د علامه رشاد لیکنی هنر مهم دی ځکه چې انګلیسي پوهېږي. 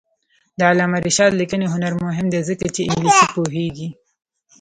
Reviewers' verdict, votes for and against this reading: accepted, 2, 0